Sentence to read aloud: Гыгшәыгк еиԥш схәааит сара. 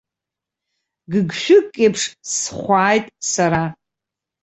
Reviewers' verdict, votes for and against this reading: accepted, 2, 0